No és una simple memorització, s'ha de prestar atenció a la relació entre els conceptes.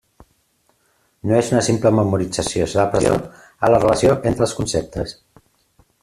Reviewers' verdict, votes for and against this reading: rejected, 0, 2